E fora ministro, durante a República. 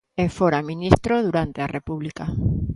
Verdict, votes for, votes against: accepted, 2, 0